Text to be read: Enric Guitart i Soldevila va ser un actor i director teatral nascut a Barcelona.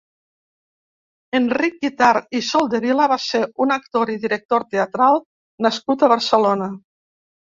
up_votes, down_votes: 2, 0